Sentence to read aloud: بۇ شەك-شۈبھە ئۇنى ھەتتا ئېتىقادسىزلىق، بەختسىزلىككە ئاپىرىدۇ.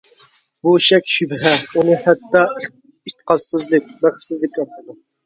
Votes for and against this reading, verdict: 0, 2, rejected